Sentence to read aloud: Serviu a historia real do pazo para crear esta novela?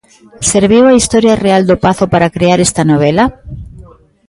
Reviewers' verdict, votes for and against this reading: accepted, 2, 0